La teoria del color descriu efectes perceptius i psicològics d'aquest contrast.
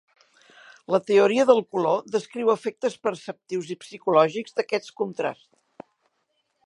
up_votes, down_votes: 2, 0